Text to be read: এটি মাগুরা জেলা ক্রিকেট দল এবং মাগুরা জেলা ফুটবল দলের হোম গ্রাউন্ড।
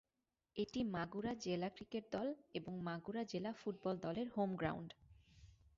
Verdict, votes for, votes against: rejected, 2, 2